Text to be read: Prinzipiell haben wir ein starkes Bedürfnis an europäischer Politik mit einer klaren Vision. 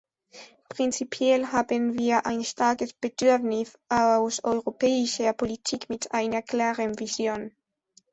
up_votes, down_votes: 0, 2